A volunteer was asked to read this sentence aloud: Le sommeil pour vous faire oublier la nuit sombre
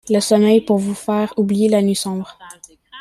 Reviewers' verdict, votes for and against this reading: accepted, 2, 1